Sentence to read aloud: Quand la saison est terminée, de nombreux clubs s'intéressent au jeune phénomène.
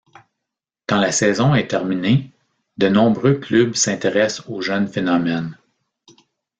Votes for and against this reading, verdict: 2, 0, accepted